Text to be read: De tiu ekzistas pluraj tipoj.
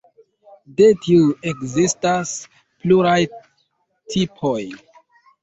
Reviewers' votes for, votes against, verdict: 2, 0, accepted